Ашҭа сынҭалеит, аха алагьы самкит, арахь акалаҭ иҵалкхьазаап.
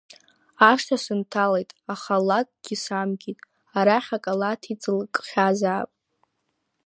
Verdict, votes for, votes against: rejected, 1, 2